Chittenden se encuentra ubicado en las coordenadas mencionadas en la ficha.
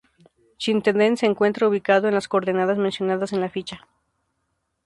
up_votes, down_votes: 2, 2